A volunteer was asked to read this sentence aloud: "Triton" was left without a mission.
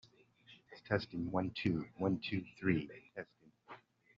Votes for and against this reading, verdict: 1, 2, rejected